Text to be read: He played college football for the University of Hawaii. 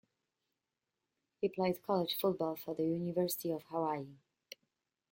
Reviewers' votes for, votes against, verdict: 1, 2, rejected